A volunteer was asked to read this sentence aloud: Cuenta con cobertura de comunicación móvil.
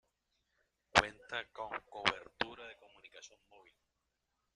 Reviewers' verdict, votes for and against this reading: rejected, 0, 2